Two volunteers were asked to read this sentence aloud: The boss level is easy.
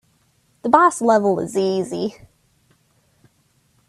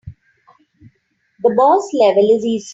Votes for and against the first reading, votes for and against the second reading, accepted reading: 3, 0, 2, 3, first